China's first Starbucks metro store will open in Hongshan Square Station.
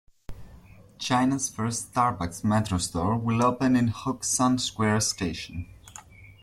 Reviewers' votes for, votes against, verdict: 1, 2, rejected